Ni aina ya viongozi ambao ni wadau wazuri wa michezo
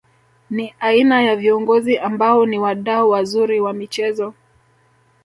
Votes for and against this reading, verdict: 2, 1, accepted